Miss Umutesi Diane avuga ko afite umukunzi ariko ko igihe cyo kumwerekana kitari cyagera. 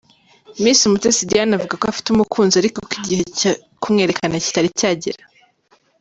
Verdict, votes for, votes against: accepted, 3, 1